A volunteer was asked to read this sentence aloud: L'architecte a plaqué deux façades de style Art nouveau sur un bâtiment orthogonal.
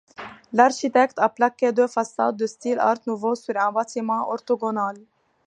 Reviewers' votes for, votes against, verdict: 2, 1, accepted